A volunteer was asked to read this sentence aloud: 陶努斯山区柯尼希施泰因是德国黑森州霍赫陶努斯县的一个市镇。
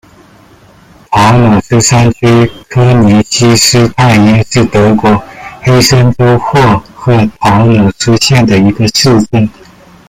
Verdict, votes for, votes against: rejected, 0, 2